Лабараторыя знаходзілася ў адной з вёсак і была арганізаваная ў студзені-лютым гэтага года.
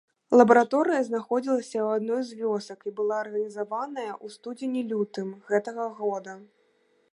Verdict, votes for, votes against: accepted, 2, 0